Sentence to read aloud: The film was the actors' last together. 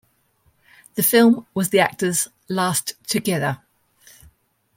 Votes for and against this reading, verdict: 2, 0, accepted